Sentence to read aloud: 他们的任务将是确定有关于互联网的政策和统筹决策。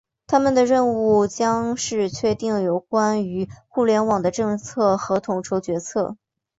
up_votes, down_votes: 2, 0